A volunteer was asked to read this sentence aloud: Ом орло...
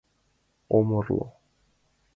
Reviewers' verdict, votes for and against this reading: accepted, 2, 0